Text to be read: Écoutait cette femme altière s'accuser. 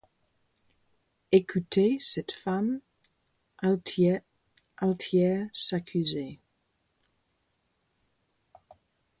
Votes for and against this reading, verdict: 2, 4, rejected